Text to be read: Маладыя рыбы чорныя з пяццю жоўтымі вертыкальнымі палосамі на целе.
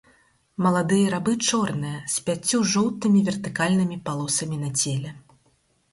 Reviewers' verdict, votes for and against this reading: rejected, 0, 4